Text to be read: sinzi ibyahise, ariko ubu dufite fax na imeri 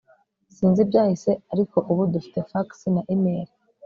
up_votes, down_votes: 3, 0